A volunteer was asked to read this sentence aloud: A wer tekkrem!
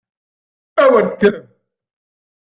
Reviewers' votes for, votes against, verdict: 1, 2, rejected